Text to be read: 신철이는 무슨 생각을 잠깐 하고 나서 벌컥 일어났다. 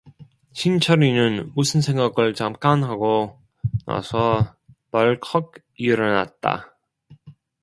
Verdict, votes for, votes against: rejected, 0, 2